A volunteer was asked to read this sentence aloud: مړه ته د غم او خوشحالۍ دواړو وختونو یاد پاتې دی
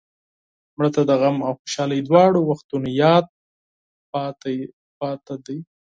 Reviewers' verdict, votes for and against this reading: accepted, 4, 2